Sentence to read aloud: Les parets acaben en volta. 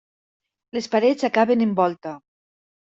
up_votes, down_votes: 1, 2